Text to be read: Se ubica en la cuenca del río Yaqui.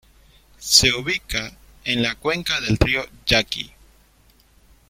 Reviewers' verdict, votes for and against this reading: rejected, 1, 2